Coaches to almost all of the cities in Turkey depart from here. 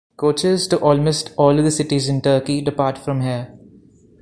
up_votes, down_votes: 2, 0